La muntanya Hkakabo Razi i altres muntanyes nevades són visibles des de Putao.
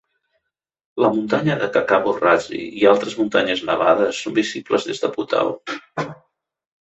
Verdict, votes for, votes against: rejected, 0, 2